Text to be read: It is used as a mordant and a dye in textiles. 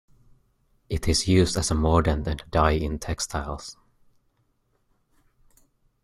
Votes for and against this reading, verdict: 2, 0, accepted